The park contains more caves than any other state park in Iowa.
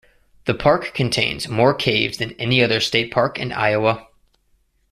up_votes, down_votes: 2, 0